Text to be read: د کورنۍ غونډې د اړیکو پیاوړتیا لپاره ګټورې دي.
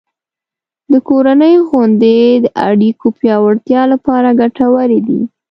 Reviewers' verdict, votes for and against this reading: accepted, 2, 0